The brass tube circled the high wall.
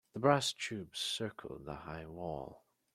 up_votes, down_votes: 2, 0